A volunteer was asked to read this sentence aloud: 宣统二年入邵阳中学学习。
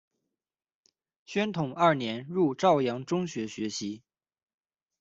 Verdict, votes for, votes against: rejected, 0, 2